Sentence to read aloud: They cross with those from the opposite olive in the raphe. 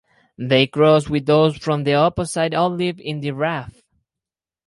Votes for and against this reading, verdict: 2, 2, rejected